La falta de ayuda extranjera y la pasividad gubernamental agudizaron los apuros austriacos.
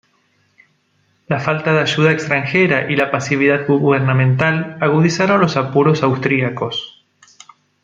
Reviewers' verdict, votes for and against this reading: rejected, 1, 2